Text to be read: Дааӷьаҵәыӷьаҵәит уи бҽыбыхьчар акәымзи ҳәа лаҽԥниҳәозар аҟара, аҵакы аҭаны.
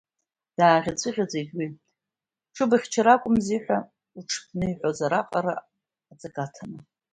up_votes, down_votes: 2, 0